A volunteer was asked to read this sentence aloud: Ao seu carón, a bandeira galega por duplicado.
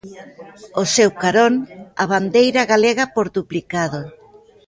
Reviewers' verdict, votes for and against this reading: accepted, 2, 0